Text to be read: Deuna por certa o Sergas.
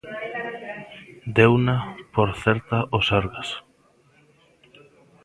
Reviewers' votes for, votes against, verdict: 1, 2, rejected